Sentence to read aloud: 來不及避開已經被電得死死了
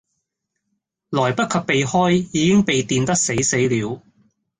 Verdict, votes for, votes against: accepted, 2, 0